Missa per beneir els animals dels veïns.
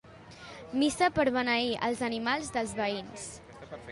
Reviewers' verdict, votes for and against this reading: accepted, 2, 0